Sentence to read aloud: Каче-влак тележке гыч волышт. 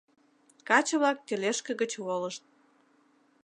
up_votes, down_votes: 2, 0